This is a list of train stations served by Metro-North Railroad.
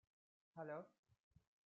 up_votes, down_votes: 0, 2